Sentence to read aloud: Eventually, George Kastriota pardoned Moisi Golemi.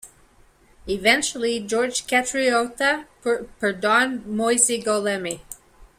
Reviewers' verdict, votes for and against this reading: rejected, 1, 2